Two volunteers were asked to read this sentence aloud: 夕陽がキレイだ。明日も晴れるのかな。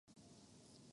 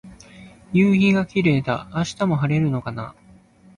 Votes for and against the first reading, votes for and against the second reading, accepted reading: 0, 2, 2, 0, second